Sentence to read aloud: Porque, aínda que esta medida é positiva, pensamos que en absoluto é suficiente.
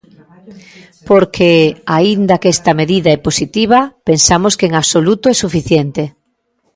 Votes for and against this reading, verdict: 2, 1, accepted